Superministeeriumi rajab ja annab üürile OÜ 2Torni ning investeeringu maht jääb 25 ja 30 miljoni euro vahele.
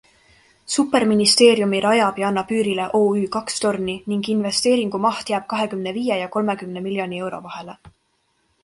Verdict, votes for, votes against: rejected, 0, 2